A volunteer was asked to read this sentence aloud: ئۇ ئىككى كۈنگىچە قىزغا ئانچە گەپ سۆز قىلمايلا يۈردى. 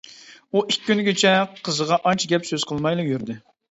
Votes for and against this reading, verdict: 2, 1, accepted